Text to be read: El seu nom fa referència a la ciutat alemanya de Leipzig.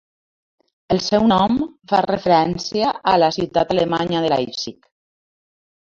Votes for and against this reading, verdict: 2, 1, accepted